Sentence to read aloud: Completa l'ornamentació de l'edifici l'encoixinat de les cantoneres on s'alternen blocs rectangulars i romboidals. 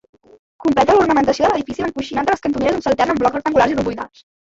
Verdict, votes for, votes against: rejected, 0, 2